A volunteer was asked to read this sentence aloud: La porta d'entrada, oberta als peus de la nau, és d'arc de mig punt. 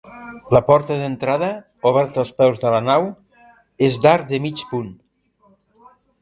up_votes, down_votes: 1, 2